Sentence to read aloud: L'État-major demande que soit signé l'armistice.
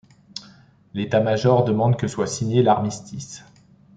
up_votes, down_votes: 3, 0